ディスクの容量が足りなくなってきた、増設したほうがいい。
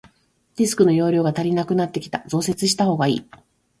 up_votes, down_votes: 2, 0